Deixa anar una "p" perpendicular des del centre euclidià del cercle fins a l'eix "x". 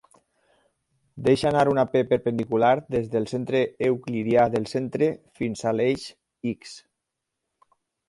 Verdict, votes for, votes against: rejected, 0, 4